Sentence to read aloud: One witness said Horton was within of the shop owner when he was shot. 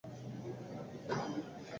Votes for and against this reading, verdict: 0, 4, rejected